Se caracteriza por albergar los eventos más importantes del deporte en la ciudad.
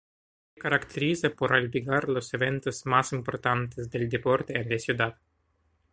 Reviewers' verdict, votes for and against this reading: rejected, 0, 2